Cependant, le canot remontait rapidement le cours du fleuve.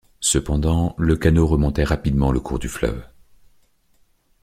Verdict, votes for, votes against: accepted, 2, 0